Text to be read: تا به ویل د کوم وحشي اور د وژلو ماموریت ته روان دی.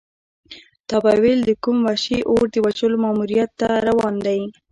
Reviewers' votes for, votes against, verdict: 2, 0, accepted